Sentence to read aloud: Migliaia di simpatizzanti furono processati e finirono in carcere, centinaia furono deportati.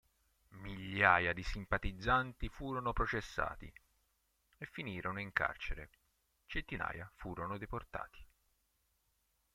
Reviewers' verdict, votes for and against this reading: rejected, 0, 2